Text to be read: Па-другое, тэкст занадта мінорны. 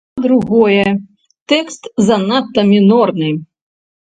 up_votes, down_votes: 0, 2